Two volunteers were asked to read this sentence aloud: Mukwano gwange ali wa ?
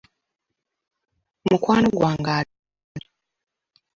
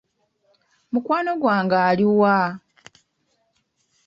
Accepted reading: second